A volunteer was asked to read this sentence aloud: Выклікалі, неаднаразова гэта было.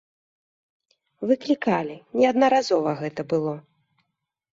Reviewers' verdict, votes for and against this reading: accepted, 3, 0